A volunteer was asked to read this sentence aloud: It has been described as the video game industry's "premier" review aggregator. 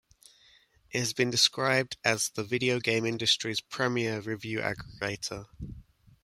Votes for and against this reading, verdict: 1, 2, rejected